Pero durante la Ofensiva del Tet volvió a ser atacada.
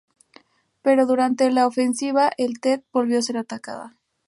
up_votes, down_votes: 0, 2